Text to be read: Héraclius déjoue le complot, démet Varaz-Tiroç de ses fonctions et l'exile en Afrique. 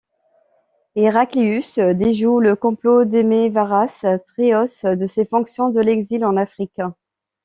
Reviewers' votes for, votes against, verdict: 1, 2, rejected